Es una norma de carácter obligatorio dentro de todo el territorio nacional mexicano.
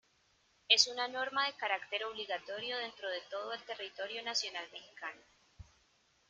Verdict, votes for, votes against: accepted, 2, 1